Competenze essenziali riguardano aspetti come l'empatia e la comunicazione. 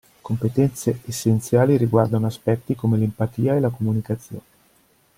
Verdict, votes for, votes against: accepted, 2, 0